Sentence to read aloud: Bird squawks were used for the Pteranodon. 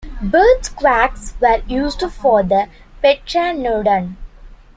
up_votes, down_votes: 1, 2